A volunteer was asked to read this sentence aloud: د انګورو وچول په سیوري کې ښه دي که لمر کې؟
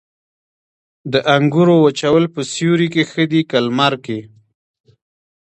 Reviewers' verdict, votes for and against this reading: accepted, 2, 0